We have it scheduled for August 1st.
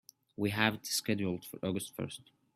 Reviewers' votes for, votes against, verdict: 0, 2, rejected